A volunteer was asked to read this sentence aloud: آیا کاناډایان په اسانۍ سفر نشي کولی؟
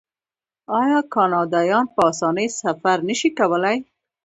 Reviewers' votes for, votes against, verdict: 1, 2, rejected